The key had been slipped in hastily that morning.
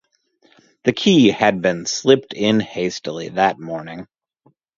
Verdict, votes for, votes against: rejected, 0, 2